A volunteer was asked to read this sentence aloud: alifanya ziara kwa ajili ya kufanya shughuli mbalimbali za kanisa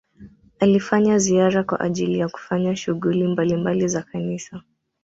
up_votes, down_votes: 2, 0